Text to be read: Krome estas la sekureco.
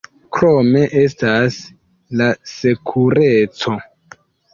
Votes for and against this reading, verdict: 2, 0, accepted